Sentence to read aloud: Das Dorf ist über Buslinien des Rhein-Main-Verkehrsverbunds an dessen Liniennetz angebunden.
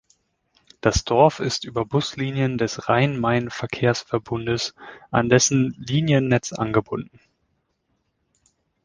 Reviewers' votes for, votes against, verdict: 2, 0, accepted